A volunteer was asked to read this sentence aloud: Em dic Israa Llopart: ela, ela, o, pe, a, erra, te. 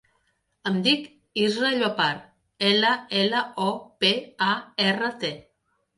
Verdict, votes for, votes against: accepted, 2, 0